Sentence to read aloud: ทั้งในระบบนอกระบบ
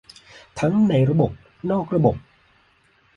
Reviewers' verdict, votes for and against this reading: accepted, 2, 0